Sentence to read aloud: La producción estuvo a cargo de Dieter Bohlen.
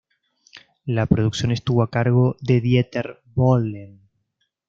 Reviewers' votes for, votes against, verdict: 2, 1, accepted